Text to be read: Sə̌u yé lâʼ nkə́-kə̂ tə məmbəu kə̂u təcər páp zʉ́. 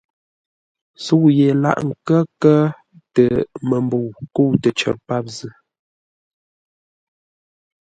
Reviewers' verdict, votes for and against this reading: accepted, 2, 0